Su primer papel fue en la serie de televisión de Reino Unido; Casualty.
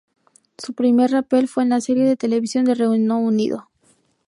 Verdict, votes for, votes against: rejected, 0, 2